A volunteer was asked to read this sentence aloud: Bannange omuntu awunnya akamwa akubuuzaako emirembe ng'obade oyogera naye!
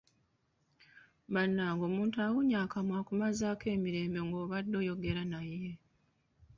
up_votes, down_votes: 1, 2